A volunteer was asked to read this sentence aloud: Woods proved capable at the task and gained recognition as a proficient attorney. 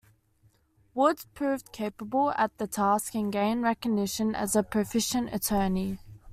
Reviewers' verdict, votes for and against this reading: accepted, 2, 0